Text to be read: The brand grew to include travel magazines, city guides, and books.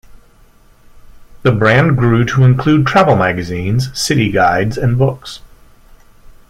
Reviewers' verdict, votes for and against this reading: accepted, 2, 0